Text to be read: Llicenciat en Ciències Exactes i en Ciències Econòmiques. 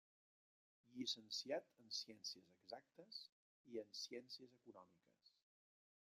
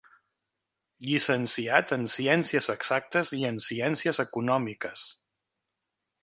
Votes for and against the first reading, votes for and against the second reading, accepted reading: 0, 2, 5, 0, second